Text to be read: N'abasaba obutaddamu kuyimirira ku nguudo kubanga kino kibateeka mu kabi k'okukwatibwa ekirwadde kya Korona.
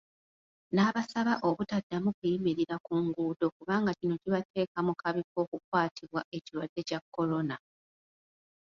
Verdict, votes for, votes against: rejected, 0, 2